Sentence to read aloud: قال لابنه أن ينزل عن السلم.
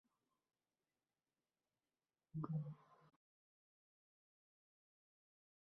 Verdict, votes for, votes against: rejected, 0, 2